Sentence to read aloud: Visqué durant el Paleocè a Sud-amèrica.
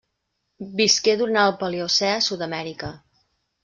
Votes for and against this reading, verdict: 1, 2, rejected